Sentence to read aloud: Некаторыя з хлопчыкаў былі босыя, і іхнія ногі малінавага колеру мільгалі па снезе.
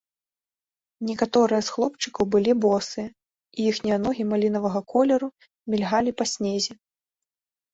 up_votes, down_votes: 2, 0